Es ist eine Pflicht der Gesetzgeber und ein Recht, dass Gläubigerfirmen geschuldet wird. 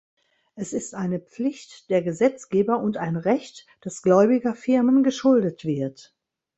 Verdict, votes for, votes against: accepted, 2, 0